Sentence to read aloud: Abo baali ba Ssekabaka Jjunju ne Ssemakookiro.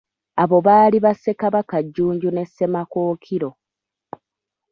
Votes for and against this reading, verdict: 0, 2, rejected